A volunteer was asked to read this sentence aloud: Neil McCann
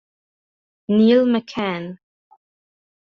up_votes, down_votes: 3, 0